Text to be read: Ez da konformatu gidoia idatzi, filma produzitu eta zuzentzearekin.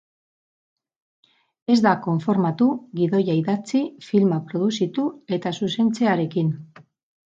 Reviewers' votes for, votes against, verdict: 2, 0, accepted